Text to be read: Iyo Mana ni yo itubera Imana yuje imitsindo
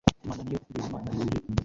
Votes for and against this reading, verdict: 0, 2, rejected